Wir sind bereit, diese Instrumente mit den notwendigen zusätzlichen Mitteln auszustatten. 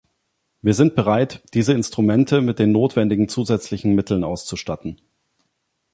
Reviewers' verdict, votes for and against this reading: accepted, 2, 0